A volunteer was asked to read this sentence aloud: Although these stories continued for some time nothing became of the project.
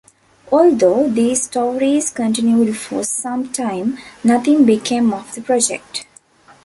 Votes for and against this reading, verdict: 2, 0, accepted